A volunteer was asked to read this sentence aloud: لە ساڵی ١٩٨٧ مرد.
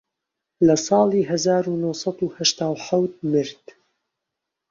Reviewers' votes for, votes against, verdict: 0, 2, rejected